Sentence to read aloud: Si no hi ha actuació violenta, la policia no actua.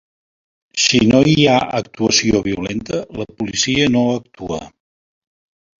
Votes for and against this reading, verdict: 4, 0, accepted